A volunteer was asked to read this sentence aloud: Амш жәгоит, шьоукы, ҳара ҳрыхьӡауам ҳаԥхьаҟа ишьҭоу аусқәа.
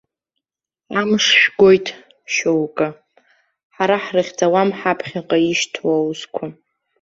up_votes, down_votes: 2, 0